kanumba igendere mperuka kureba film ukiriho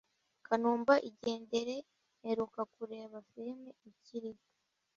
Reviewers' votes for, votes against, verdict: 2, 0, accepted